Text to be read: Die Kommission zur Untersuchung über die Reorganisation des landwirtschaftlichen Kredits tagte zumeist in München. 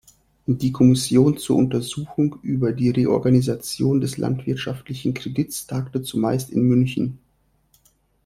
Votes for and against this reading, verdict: 2, 0, accepted